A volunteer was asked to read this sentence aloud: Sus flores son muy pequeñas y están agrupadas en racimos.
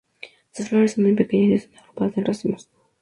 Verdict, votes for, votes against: rejected, 0, 4